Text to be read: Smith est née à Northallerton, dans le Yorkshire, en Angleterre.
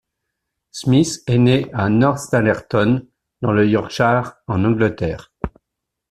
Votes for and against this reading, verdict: 2, 1, accepted